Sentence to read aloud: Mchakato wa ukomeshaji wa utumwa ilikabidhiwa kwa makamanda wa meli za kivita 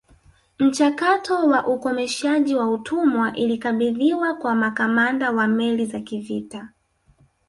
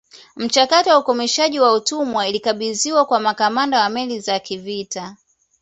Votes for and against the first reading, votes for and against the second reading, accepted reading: 1, 2, 2, 0, second